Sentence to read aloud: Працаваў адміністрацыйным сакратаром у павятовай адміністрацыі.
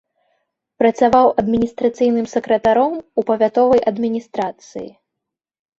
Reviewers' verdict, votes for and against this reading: accepted, 3, 0